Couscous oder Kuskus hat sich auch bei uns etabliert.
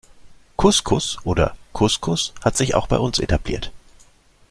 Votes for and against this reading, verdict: 2, 1, accepted